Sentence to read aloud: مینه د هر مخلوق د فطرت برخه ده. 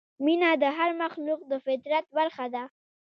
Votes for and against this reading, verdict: 2, 0, accepted